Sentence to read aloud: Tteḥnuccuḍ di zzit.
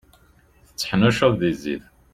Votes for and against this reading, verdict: 2, 0, accepted